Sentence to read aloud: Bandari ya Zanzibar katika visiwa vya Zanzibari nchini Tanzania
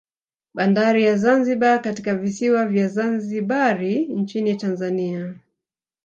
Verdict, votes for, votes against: accepted, 2, 1